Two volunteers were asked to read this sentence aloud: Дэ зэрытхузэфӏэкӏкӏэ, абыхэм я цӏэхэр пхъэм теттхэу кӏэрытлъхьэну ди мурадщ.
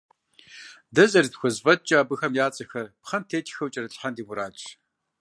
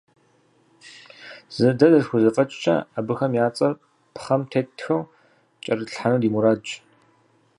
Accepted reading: first